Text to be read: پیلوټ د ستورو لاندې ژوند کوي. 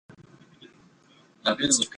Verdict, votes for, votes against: rejected, 0, 2